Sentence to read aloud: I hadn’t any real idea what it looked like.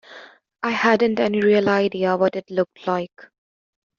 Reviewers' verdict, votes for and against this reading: accepted, 2, 0